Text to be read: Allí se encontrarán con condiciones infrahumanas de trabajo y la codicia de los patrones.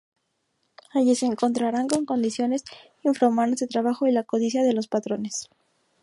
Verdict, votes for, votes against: accepted, 2, 0